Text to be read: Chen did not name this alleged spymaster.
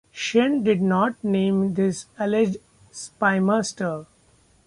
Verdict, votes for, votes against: accepted, 2, 0